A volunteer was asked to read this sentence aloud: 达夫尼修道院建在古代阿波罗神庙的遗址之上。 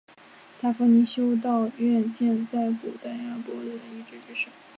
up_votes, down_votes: 0, 3